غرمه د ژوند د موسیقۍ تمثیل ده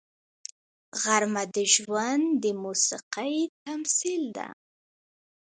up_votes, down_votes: 2, 0